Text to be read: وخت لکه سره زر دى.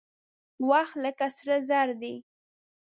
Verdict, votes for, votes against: accepted, 2, 0